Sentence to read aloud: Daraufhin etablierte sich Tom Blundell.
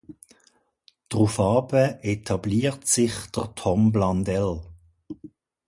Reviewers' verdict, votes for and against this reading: rejected, 1, 2